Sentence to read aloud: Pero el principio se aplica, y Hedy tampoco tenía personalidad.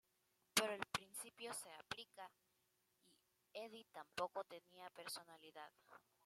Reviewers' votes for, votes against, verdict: 2, 0, accepted